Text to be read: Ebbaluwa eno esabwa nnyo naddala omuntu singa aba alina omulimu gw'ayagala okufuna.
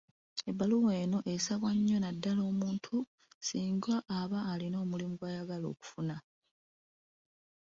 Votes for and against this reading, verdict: 2, 0, accepted